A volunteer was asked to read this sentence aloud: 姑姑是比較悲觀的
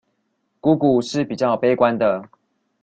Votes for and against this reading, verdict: 2, 0, accepted